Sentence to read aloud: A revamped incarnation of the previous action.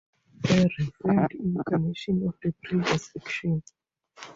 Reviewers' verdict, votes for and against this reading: rejected, 0, 4